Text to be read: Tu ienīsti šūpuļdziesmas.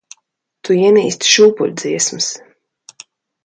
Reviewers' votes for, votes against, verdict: 2, 0, accepted